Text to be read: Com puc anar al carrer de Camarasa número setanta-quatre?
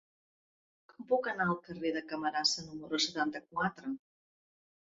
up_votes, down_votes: 0, 2